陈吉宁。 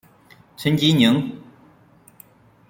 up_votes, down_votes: 2, 0